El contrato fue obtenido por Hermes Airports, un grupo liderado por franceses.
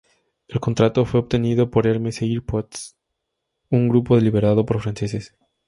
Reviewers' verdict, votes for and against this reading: accepted, 2, 0